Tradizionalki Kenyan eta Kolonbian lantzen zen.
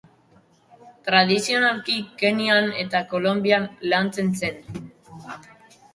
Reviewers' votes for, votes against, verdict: 2, 0, accepted